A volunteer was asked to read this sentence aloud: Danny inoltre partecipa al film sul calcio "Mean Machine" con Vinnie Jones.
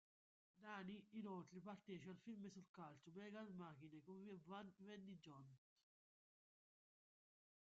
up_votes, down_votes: 1, 2